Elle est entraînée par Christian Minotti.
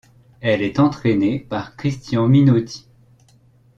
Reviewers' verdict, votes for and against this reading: accepted, 2, 0